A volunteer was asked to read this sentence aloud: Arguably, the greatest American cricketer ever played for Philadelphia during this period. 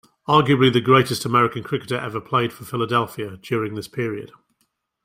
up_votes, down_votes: 2, 1